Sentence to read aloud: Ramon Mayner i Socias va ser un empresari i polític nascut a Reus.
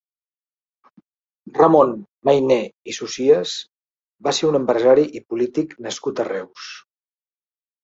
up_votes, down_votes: 2, 1